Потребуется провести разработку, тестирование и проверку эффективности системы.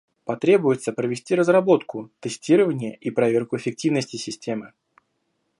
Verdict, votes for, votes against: accepted, 2, 0